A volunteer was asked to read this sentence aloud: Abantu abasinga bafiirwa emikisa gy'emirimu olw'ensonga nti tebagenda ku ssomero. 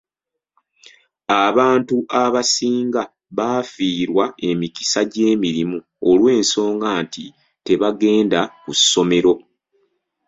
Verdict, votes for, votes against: rejected, 1, 2